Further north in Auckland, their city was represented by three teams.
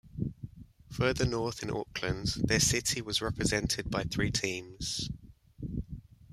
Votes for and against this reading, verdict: 1, 2, rejected